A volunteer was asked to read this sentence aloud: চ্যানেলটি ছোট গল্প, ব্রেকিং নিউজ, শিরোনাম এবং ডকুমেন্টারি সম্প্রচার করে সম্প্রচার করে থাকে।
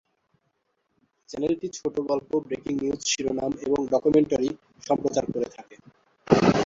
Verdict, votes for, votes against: rejected, 0, 2